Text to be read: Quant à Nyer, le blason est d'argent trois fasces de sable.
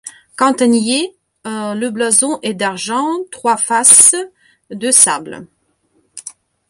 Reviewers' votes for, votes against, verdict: 0, 2, rejected